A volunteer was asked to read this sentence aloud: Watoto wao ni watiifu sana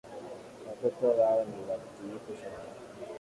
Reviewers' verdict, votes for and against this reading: accepted, 2, 0